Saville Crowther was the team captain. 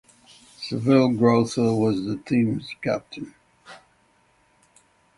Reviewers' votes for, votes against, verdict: 3, 6, rejected